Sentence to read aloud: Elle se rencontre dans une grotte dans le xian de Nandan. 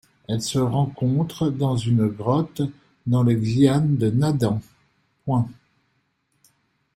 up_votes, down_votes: 0, 2